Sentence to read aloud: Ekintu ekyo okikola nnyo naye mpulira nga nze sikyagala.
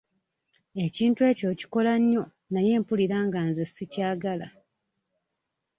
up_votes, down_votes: 2, 0